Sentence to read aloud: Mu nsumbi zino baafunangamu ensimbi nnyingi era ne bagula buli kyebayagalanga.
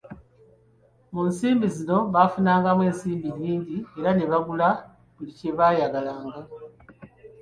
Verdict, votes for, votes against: accepted, 3, 0